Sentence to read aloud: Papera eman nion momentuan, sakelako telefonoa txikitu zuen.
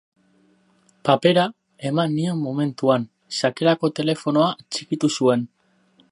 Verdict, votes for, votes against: rejected, 2, 2